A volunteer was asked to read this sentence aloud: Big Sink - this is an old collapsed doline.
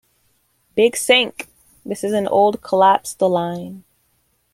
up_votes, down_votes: 2, 1